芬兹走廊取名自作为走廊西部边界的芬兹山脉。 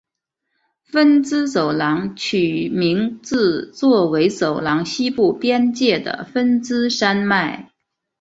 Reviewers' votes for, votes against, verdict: 2, 0, accepted